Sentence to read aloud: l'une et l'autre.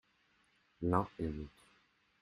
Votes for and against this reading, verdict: 0, 2, rejected